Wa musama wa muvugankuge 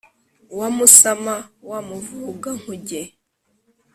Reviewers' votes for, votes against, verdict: 2, 0, accepted